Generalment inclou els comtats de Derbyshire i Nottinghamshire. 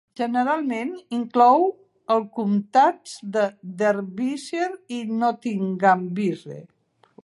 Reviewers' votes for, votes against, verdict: 0, 2, rejected